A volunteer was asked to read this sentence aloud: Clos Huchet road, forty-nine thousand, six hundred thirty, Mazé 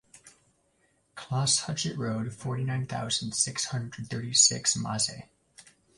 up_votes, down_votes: 1, 2